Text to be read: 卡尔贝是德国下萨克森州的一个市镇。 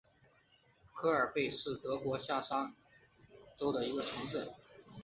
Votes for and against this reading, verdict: 2, 1, accepted